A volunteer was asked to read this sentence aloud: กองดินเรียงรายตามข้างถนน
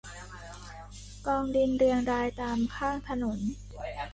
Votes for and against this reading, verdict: 2, 1, accepted